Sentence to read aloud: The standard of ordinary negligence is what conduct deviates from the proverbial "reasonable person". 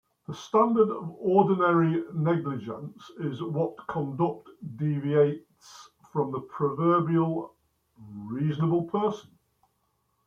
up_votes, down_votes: 0, 2